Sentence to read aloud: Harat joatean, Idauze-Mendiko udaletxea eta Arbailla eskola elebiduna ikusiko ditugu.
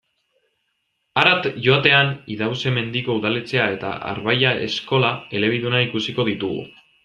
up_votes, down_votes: 2, 0